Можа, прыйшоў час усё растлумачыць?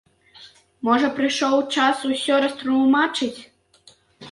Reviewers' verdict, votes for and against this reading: accepted, 2, 1